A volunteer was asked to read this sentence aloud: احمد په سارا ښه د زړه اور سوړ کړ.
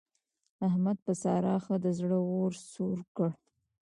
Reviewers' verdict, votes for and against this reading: rejected, 1, 2